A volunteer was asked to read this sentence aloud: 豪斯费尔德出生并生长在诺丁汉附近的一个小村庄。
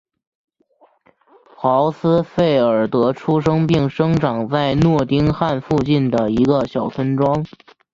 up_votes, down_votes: 2, 1